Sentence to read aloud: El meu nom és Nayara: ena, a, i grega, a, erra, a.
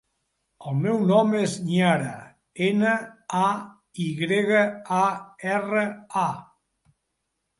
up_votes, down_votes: 1, 2